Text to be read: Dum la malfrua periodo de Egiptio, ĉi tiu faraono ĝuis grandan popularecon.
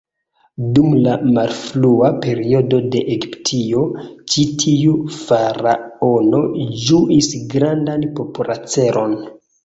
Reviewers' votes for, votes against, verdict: 1, 3, rejected